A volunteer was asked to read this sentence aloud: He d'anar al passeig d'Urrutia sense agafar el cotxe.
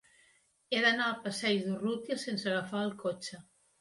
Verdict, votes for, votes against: accepted, 2, 0